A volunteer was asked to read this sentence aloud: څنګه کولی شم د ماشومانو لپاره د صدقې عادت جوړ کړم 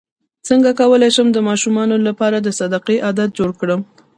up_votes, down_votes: 0, 2